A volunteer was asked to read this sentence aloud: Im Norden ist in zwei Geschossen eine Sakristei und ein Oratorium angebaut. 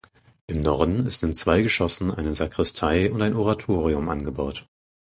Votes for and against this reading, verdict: 4, 0, accepted